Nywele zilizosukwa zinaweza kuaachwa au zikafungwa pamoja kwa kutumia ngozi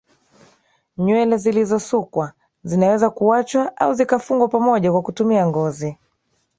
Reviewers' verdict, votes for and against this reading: accepted, 2, 1